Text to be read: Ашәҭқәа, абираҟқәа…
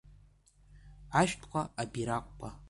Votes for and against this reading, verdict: 2, 0, accepted